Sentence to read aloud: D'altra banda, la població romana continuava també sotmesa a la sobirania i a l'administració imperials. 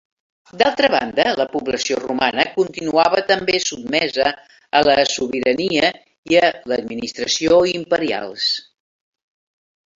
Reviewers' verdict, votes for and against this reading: rejected, 1, 2